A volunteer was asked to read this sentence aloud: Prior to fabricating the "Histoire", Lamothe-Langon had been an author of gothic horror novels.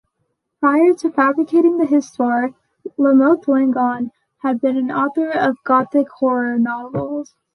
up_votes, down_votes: 2, 0